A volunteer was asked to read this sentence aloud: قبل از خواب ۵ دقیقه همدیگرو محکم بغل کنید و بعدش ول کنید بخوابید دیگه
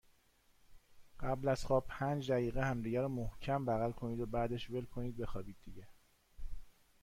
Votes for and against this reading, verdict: 0, 2, rejected